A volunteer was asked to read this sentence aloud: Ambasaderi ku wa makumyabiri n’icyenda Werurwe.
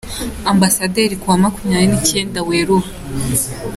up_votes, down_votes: 2, 0